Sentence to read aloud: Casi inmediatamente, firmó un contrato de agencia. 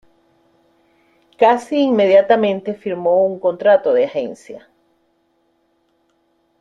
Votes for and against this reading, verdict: 0, 3, rejected